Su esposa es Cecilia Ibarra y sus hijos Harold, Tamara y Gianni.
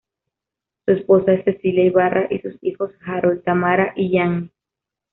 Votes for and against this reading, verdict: 2, 0, accepted